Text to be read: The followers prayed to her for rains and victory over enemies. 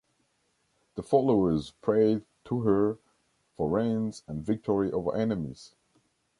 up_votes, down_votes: 2, 0